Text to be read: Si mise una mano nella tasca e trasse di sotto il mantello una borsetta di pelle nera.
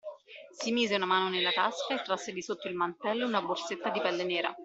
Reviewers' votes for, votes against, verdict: 2, 1, accepted